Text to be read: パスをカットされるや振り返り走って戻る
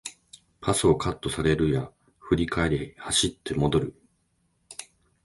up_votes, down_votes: 13, 1